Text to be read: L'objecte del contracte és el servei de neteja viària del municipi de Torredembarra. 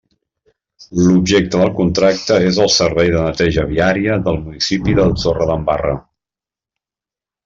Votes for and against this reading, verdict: 0, 2, rejected